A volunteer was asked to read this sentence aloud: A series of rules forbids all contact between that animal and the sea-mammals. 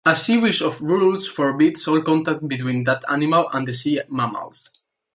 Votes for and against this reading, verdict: 2, 0, accepted